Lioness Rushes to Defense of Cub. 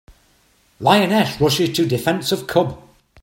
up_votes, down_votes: 2, 0